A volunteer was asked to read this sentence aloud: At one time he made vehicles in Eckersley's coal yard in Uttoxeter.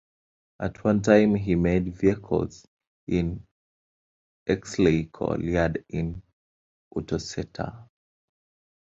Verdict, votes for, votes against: rejected, 1, 2